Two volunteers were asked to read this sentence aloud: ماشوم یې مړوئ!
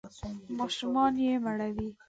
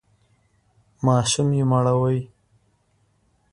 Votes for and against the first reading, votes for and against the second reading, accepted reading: 0, 2, 3, 1, second